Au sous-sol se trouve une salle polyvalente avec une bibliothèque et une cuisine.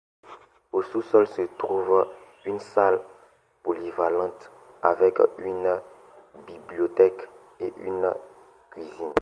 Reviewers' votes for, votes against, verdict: 2, 0, accepted